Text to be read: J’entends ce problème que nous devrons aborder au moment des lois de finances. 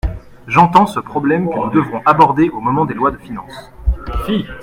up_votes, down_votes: 2, 0